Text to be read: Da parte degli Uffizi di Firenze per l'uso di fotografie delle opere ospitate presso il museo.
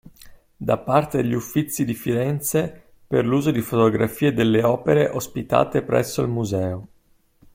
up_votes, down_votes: 2, 0